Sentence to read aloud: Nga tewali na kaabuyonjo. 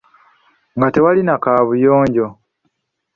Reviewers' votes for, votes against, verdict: 0, 2, rejected